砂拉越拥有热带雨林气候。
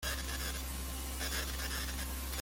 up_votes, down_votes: 0, 2